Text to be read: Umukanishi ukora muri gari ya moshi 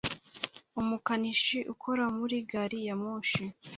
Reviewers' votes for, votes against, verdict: 2, 0, accepted